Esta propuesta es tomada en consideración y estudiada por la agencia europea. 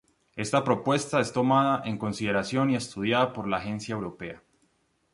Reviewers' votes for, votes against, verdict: 2, 0, accepted